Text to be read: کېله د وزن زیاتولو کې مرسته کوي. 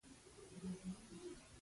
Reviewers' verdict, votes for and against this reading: accepted, 2, 1